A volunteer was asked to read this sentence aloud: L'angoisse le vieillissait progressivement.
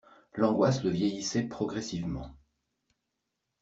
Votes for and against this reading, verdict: 1, 2, rejected